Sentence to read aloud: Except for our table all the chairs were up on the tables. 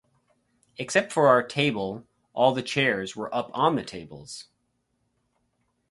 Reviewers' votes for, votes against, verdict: 4, 0, accepted